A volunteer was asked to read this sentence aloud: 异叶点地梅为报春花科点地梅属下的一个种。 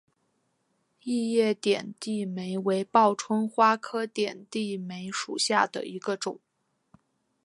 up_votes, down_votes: 0, 2